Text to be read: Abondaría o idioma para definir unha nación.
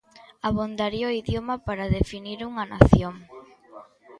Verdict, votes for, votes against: rejected, 1, 2